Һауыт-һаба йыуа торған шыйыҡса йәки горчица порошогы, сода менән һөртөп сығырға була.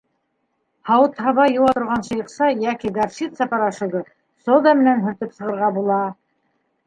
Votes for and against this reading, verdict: 2, 0, accepted